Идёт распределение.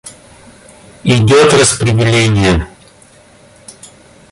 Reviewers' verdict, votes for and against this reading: rejected, 1, 2